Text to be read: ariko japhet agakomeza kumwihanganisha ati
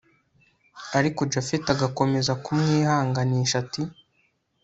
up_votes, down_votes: 2, 0